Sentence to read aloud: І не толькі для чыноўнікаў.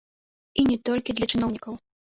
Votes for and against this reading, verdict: 0, 2, rejected